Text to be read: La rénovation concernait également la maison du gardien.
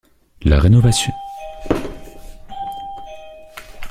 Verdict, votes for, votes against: rejected, 0, 2